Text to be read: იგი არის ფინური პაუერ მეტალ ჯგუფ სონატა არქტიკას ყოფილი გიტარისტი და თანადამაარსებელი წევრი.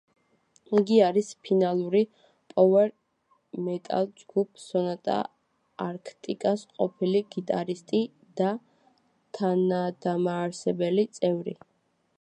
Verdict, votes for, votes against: rejected, 1, 2